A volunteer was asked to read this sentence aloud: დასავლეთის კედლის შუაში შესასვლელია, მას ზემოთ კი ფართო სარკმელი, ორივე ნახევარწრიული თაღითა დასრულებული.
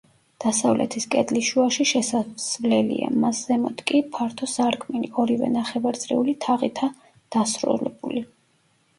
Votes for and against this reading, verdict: 1, 2, rejected